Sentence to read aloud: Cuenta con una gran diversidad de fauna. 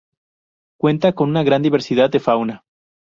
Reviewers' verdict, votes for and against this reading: accepted, 4, 0